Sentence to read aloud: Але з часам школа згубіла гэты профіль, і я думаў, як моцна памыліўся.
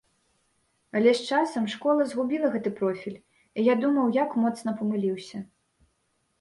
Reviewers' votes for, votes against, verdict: 2, 0, accepted